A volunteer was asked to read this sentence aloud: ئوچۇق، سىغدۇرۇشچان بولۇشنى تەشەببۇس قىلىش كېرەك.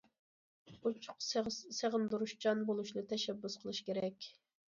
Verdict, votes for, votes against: rejected, 0, 2